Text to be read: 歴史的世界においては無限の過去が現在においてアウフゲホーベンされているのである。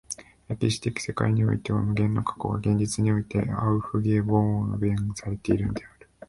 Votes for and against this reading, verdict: 2, 0, accepted